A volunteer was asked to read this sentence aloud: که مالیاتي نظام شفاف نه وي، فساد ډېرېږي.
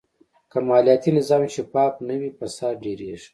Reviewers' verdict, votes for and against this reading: accepted, 2, 0